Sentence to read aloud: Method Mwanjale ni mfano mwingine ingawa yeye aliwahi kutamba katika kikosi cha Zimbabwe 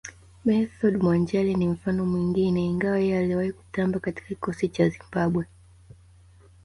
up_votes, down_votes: 0, 3